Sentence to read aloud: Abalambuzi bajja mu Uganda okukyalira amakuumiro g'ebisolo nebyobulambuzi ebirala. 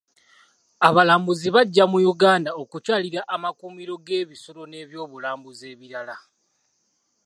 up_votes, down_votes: 2, 0